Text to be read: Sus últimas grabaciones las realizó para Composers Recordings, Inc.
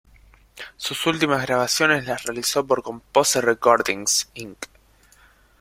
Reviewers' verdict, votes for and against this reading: rejected, 0, 2